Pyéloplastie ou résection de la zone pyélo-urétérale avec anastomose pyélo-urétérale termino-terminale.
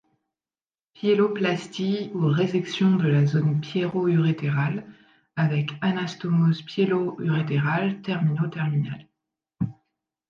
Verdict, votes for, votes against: rejected, 2, 3